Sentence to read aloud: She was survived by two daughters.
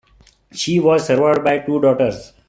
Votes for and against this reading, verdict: 2, 0, accepted